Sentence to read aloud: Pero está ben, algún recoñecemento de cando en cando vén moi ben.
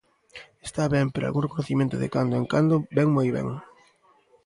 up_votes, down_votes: 0, 2